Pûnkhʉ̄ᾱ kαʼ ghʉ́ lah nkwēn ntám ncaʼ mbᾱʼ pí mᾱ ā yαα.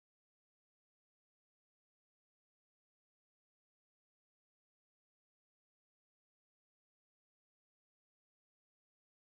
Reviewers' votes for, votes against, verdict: 1, 2, rejected